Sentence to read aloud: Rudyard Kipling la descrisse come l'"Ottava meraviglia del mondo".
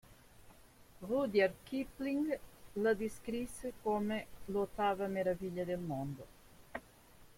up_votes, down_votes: 2, 0